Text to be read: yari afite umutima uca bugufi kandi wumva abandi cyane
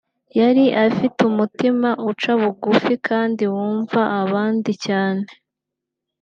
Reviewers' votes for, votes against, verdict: 2, 0, accepted